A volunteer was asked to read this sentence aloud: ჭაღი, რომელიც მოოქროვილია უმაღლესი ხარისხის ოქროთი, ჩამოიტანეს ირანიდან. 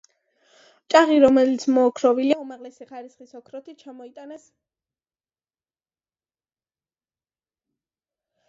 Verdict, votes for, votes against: rejected, 0, 2